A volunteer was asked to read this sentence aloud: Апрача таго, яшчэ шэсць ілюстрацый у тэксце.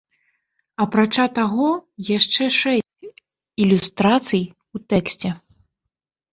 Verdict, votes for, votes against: rejected, 1, 2